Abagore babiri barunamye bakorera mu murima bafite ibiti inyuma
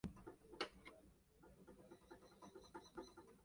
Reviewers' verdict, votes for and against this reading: rejected, 0, 2